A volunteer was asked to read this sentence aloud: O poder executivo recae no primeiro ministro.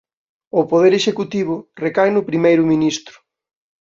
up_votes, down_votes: 2, 0